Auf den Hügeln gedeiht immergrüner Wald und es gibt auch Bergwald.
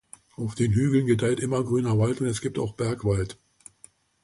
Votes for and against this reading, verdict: 2, 0, accepted